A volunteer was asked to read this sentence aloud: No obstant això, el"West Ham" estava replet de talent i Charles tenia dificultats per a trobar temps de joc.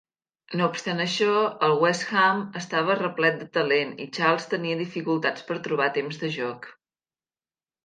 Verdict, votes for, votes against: rejected, 0, 2